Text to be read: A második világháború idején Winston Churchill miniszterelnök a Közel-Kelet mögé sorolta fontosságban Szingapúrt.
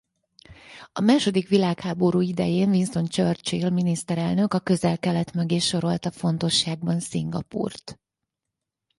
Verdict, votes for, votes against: accepted, 4, 0